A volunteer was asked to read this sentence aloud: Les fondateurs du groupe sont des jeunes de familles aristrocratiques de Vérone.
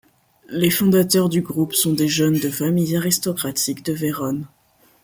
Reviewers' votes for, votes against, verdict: 2, 0, accepted